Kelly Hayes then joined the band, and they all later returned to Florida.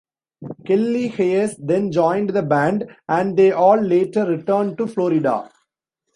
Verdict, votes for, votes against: accepted, 2, 0